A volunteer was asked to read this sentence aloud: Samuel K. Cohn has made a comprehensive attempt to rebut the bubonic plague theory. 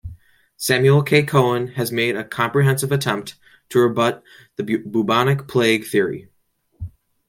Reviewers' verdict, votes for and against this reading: rejected, 1, 2